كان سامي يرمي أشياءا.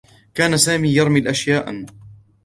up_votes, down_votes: 1, 2